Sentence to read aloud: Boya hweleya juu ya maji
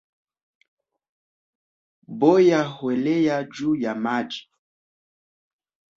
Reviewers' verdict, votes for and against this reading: rejected, 0, 2